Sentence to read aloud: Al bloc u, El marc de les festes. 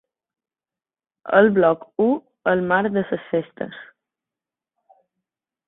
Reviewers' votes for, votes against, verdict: 1, 2, rejected